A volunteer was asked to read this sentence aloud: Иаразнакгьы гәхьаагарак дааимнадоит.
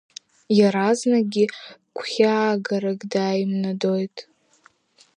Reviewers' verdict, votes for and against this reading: accepted, 3, 0